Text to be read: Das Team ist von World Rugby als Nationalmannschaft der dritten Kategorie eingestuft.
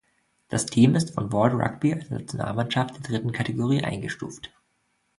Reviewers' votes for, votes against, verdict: 1, 2, rejected